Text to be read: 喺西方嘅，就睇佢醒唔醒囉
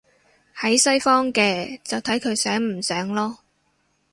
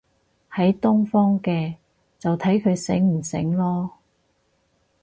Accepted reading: first